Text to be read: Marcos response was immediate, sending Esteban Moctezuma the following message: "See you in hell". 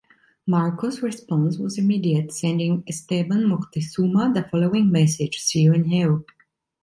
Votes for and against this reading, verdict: 2, 0, accepted